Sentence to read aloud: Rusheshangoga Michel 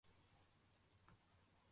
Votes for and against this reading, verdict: 0, 2, rejected